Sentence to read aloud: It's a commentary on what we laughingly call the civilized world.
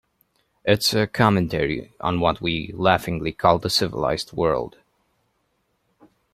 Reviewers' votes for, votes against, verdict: 2, 0, accepted